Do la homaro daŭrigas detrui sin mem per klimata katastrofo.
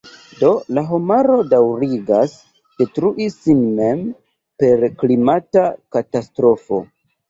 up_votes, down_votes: 1, 2